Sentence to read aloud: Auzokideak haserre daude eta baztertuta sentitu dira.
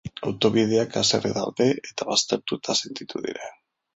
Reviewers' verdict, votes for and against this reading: rejected, 1, 2